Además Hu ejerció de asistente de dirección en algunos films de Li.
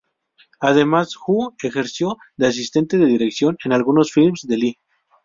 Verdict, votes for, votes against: accepted, 2, 0